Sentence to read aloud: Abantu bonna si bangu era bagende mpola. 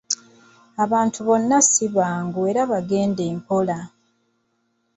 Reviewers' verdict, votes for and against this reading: accepted, 3, 0